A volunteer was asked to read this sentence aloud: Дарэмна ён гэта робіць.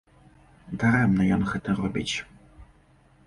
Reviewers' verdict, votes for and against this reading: accepted, 2, 0